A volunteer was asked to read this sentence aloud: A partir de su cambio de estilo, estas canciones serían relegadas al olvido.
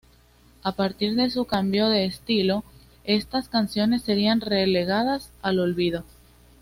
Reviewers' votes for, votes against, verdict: 2, 0, accepted